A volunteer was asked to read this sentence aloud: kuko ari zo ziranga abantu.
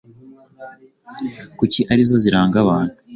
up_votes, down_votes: 2, 1